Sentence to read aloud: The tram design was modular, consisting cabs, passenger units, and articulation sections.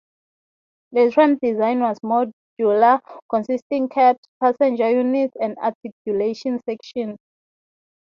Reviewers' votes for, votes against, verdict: 3, 3, rejected